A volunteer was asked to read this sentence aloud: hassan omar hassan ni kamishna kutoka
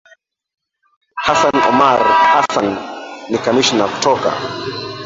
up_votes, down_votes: 0, 3